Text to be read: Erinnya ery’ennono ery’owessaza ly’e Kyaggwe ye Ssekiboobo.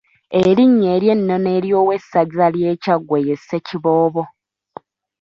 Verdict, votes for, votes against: rejected, 1, 2